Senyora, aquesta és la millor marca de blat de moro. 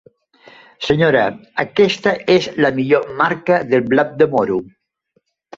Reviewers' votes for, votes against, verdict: 1, 2, rejected